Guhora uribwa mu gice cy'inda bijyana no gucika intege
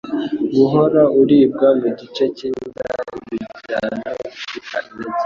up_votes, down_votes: 1, 2